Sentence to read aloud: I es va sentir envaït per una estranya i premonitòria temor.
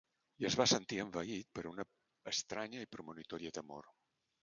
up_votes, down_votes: 0, 2